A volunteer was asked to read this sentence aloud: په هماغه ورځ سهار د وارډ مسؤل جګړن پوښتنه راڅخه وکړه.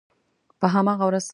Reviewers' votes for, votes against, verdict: 1, 3, rejected